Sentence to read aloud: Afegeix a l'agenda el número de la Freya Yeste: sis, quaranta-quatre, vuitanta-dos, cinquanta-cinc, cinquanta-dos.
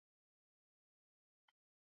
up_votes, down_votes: 1, 2